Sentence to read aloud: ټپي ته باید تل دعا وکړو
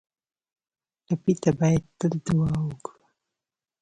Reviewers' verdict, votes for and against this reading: rejected, 1, 2